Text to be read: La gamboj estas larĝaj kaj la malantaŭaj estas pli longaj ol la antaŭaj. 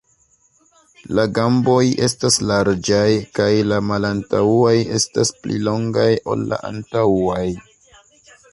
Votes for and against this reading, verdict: 1, 2, rejected